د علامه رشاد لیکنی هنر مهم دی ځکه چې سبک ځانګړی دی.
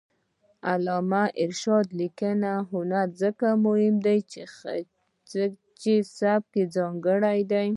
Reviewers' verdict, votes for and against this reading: rejected, 1, 2